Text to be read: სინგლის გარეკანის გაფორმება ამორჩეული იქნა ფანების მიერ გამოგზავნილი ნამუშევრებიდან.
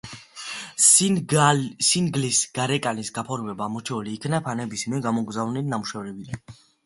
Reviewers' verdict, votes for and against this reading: rejected, 0, 2